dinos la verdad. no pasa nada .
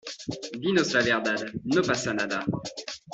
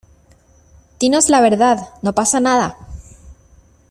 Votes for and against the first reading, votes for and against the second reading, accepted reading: 0, 2, 2, 0, second